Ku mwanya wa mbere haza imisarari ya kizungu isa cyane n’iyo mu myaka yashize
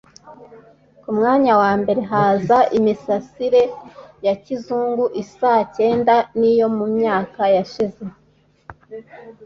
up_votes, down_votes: 2, 0